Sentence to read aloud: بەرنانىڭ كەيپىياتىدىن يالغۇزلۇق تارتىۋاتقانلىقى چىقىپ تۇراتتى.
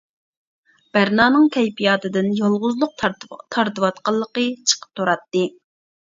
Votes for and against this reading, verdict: 1, 2, rejected